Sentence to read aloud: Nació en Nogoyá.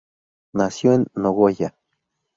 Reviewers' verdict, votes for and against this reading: accepted, 2, 0